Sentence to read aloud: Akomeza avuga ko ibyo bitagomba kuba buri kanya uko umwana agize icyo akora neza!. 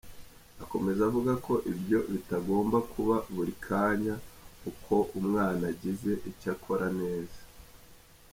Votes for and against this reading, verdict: 1, 2, rejected